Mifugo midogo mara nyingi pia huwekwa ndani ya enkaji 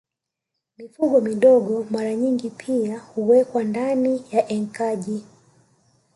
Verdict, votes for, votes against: accepted, 2, 0